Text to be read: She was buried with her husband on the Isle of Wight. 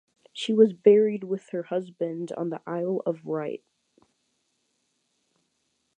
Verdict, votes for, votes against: rejected, 0, 2